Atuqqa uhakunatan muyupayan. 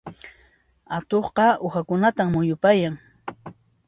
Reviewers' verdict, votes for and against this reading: accepted, 2, 0